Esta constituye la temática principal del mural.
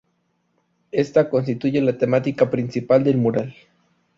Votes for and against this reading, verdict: 2, 0, accepted